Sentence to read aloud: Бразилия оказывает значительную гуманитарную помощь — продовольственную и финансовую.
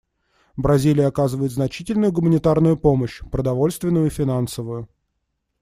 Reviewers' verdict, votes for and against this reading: accepted, 2, 0